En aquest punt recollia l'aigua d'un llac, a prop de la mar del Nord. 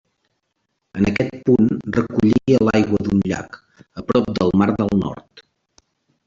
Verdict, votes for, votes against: rejected, 0, 2